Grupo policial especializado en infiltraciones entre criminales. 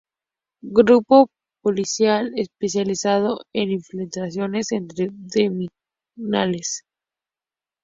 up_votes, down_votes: 0, 2